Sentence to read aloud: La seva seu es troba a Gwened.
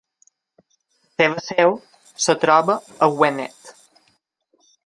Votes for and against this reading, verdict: 1, 2, rejected